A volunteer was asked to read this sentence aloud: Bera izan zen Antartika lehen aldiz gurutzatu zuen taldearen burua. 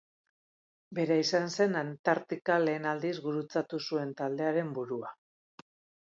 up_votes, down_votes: 4, 0